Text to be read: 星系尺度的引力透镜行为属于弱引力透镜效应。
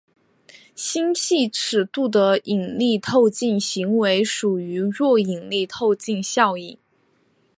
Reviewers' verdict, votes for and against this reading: accepted, 2, 0